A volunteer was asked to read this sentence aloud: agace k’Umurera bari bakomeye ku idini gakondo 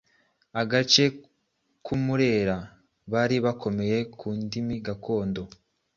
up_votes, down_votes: 1, 2